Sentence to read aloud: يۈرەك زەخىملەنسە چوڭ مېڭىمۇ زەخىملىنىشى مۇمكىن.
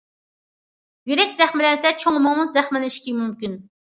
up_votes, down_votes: 0, 2